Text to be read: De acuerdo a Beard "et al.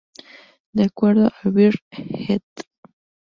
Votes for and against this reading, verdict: 0, 2, rejected